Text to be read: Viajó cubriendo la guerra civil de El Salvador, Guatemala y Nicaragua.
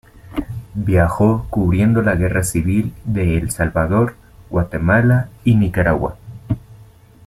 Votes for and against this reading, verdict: 2, 0, accepted